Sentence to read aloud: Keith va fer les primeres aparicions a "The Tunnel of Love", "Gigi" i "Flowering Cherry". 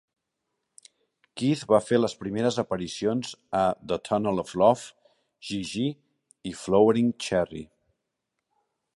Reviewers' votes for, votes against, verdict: 2, 1, accepted